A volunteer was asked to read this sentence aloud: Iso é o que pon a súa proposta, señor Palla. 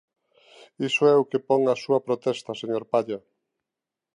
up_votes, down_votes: 0, 2